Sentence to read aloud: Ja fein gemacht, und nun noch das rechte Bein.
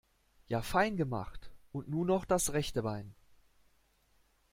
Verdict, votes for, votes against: accepted, 2, 0